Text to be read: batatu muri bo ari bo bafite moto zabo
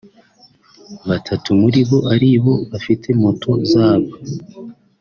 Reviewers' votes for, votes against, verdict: 3, 0, accepted